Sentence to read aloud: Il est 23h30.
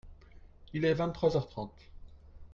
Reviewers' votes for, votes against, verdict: 0, 2, rejected